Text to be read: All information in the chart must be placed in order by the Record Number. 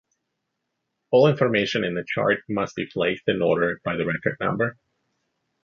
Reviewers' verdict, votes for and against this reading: accepted, 2, 0